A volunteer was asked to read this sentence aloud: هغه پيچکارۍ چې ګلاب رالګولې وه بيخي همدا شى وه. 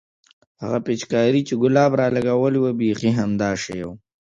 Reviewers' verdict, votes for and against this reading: rejected, 1, 2